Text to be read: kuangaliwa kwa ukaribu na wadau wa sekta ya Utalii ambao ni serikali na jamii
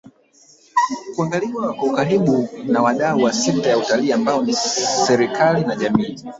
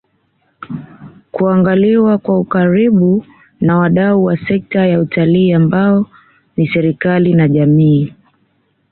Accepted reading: second